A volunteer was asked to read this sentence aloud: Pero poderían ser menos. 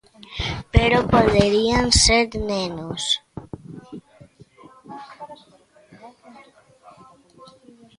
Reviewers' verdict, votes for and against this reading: rejected, 1, 2